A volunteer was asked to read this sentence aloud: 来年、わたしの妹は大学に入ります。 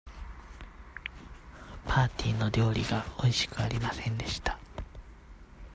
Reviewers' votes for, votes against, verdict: 0, 2, rejected